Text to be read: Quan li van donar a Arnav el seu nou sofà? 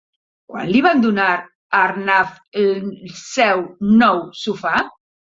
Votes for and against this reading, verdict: 1, 2, rejected